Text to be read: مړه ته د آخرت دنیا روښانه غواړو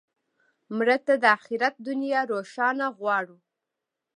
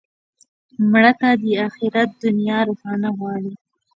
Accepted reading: first